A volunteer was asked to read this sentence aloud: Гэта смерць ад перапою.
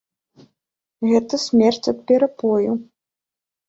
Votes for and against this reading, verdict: 2, 0, accepted